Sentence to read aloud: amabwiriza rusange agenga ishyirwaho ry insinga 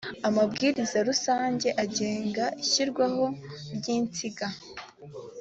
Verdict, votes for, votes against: accepted, 2, 0